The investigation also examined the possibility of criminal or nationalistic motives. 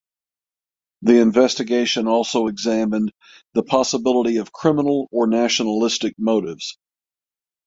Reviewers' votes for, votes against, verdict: 6, 3, accepted